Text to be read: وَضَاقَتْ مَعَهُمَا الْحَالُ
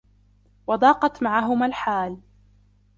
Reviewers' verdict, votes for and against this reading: rejected, 0, 2